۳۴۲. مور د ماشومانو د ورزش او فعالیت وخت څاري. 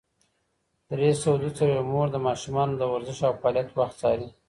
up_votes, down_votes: 0, 2